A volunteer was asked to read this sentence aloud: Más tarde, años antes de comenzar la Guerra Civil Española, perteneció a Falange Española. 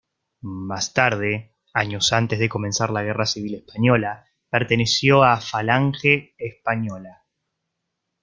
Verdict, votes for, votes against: rejected, 1, 2